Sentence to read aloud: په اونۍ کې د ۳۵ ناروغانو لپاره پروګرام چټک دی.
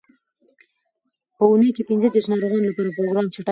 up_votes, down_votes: 0, 2